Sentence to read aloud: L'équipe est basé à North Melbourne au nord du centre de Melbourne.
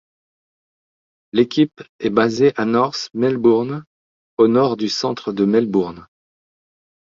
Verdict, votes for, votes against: accepted, 2, 1